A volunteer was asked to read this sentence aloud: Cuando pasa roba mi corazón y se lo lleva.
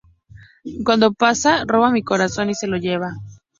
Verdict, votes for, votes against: accepted, 2, 0